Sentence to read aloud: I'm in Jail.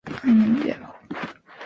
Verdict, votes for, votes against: rejected, 2, 3